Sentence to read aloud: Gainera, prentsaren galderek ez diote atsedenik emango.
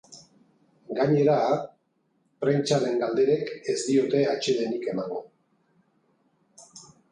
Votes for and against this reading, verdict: 2, 0, accepted